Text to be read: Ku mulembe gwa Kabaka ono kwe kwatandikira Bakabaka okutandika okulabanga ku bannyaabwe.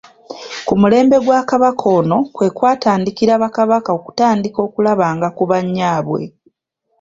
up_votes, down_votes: 2, 1